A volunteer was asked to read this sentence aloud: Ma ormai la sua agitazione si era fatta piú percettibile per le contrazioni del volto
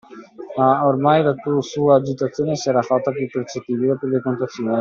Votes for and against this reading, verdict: 0, 2, rejected